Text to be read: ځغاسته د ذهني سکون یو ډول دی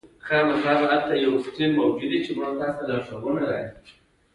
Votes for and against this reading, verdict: 1, 2, rejected